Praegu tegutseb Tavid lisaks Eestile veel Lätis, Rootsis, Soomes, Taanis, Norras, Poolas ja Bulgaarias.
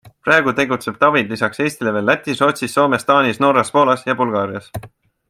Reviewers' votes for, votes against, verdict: 3, 0, accepted